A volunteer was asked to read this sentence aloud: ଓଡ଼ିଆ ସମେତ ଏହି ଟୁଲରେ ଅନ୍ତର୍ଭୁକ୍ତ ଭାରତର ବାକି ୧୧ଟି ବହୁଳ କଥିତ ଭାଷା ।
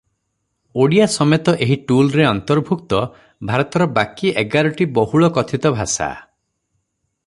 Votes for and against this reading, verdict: 0, 2, rejected